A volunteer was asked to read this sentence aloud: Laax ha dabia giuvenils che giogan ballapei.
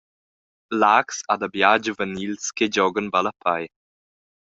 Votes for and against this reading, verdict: 2, 0, accepted